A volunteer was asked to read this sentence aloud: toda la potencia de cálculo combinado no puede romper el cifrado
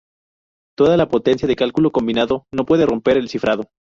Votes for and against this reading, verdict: 0, 2, rejected